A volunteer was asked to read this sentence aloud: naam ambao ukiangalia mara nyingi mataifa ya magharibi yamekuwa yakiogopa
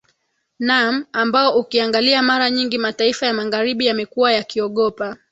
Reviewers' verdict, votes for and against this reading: rejected, 2, 2